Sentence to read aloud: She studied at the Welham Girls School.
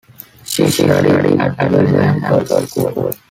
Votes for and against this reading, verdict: 0, 2, rejected